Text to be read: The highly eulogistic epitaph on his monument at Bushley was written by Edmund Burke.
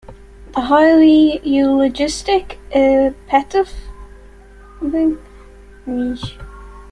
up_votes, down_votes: 0, 2